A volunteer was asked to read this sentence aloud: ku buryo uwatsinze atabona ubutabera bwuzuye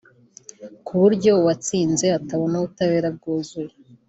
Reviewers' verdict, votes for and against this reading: accepted, 2, 0